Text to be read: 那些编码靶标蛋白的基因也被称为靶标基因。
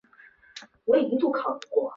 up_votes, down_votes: 0, 3